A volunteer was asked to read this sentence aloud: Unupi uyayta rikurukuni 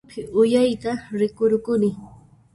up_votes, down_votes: 1, 2